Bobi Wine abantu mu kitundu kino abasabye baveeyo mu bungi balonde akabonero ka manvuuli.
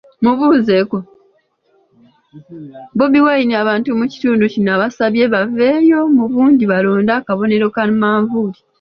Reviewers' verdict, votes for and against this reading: rejected, 0, 3